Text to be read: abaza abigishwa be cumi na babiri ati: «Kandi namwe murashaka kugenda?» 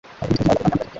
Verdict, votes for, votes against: rejected, 2, 3